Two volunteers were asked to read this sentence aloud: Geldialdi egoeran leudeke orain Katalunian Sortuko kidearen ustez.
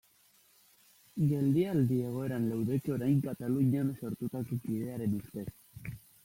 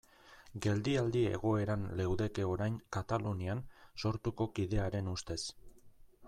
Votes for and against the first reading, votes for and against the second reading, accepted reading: 1, 2, 2, 0, second